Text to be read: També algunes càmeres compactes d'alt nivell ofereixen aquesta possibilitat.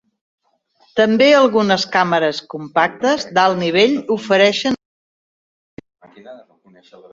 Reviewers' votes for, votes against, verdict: 0, 2, rejected